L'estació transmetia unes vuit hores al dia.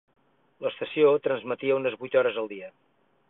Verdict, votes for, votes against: accepted, 6, 0